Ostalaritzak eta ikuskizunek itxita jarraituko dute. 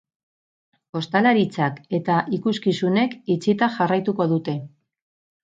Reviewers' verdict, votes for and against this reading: rejected, 0, 2